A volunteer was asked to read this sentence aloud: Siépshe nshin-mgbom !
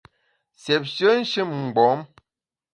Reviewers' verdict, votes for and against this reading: accepted, 2, 0